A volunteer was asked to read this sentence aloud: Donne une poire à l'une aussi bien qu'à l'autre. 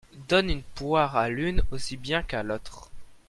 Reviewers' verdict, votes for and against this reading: accepted, 2, 0